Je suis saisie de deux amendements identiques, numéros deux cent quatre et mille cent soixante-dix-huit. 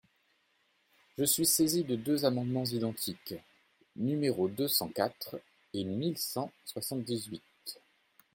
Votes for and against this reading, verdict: 2, 0, accepted